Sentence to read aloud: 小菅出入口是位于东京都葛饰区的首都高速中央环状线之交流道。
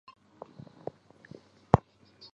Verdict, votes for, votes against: rejected, 0, 6